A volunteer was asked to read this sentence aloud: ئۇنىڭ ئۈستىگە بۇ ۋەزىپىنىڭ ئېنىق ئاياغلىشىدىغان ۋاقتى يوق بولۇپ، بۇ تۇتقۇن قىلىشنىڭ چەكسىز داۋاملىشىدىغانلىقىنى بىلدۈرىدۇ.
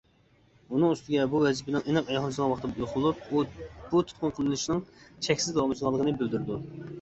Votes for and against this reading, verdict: 0, 2, rejected